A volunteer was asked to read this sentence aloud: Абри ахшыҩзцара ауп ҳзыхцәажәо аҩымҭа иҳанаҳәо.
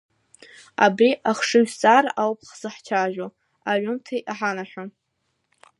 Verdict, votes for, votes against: rejected, 1, 2